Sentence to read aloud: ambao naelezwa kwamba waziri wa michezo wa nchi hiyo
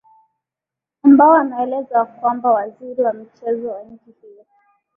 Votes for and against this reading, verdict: 0, 2, rejected